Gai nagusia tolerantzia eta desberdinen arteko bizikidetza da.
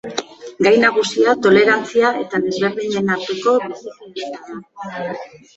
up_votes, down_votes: 2, 1